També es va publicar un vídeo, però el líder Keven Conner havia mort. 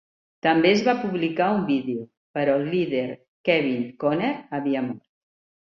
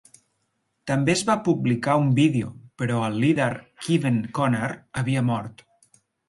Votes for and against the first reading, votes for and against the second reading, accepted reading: 0, 5, 2, 0, second